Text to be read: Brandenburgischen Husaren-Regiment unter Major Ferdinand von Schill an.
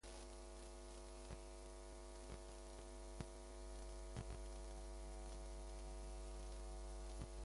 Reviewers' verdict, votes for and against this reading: rejected, 0, 3